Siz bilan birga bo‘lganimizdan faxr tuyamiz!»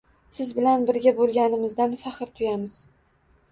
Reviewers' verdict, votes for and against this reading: accepted, 2, 0